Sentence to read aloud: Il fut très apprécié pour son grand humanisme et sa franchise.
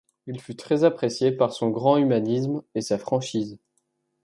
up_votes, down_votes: 1, 2